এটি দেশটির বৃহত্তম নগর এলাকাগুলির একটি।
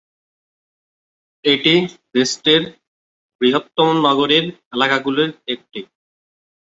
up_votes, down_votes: 3, 10